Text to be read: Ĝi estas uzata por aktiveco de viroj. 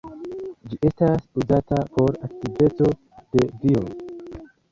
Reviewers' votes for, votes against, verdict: 0, 3, rejected